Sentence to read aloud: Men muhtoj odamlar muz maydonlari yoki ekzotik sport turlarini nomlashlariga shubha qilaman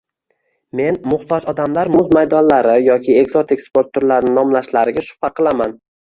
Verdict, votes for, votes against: rejected, 1, 2